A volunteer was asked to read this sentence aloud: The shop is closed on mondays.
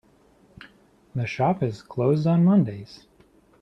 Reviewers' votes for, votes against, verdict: 2, 0, accepted